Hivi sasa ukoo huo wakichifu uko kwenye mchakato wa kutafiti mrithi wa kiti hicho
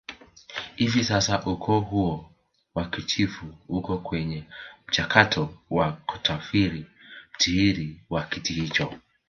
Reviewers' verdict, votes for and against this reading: accepted, 2, 1